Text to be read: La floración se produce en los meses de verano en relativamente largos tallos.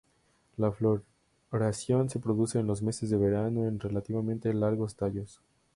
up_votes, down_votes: 2, 2